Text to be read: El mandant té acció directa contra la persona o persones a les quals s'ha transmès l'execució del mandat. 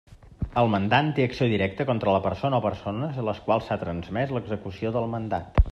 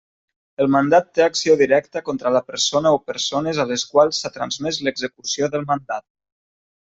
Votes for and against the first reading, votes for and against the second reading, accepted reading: 2, 0, 0, 2, first